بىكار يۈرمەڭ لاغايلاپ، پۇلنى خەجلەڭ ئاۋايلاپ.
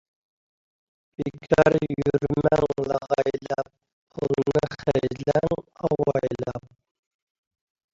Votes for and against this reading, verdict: 0, 2, rejected